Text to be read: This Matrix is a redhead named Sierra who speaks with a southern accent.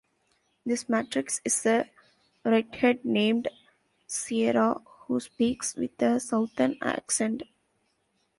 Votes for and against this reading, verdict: 1, 2, rejected